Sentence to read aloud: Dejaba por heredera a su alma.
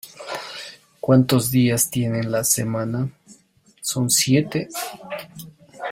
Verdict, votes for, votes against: rejected, 0, 2